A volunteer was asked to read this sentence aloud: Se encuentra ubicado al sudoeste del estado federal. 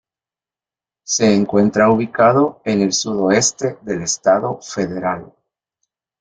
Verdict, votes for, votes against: rejected, 1, 2